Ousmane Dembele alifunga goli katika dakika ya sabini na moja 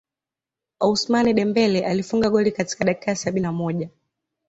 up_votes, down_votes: 2, 1